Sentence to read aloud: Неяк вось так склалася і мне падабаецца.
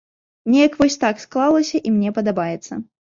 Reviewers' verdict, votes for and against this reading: accepted, 2, 0